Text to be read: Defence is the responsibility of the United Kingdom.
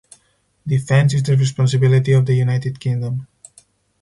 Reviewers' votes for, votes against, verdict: 4, 0, accepted